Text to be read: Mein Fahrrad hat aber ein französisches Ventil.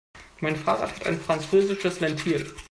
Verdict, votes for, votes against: rejected, 0, 2